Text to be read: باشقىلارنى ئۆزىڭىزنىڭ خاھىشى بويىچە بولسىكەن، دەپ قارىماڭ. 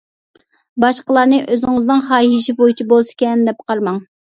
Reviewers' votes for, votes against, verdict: 2, 0, accepted